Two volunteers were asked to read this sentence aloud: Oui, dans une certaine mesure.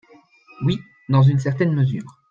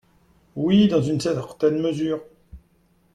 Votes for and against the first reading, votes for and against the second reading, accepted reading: 3, 0, 1, 2, first